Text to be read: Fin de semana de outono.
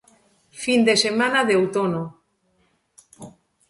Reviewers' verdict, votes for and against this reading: accepted, 2, 0